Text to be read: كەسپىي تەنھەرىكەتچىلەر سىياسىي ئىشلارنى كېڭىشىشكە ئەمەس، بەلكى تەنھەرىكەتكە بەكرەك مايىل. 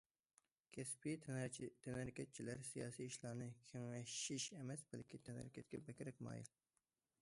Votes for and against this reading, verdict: 0, 2, rejected